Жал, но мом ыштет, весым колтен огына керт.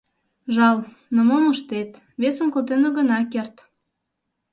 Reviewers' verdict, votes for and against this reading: accepted, 2, 0